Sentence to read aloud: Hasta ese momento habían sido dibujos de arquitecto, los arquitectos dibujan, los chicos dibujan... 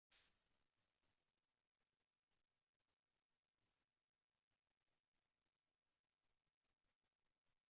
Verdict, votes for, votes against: rejected, 0, 2